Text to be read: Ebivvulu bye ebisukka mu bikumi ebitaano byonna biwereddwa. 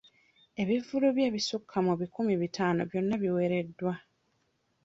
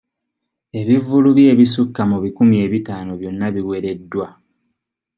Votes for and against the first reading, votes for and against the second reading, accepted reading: 0, 2, 2, 0, second